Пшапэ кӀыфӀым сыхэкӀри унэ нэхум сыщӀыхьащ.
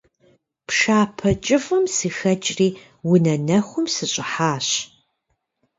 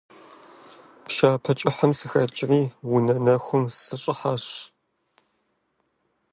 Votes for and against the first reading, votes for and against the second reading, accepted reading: 2, 0, 1, 2, first